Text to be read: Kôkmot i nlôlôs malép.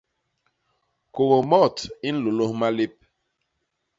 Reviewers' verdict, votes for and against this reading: accepted, 2, 0